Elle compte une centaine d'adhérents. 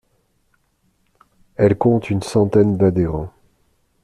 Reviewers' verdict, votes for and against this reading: accepted, 2, 0